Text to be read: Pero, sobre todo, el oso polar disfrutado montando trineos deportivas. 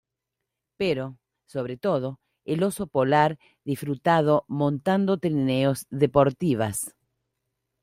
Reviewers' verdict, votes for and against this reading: accepted, 2, 0